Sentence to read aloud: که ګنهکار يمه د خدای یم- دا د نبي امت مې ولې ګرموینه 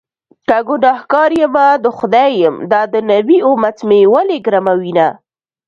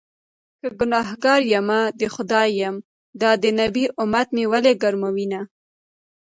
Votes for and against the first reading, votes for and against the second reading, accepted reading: 2, 0, 1, 2, first